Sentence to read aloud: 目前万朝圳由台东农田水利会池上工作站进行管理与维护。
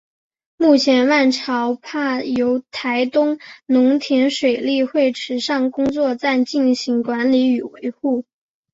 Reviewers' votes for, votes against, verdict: 0, 2, rejected